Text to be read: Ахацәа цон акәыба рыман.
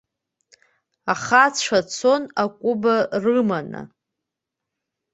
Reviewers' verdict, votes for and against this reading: rejected, 1, 2